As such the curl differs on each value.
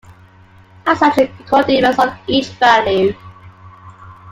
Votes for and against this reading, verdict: 2, 1, accepted